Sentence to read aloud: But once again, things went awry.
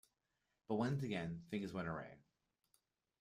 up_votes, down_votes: 1, 2